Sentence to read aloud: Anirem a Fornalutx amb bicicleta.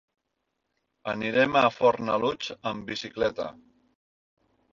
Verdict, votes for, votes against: accepted, 3, 0